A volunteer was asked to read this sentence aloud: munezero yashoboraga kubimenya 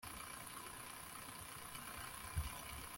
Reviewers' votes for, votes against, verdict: 1, 2, rejected